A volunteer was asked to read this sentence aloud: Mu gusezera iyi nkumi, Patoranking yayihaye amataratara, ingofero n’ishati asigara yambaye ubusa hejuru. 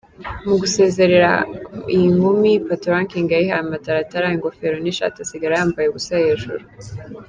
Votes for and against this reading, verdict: 2, 0, accepted